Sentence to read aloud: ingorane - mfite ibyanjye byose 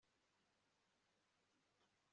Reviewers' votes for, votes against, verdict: 1, 3, rejected